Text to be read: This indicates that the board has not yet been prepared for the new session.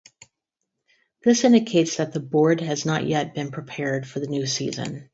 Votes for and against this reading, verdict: 2, 6, rejected